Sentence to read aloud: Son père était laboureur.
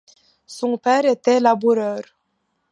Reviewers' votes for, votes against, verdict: 2, 0, accepted